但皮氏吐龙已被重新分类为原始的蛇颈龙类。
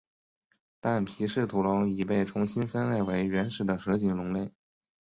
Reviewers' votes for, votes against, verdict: 1, 2, rejected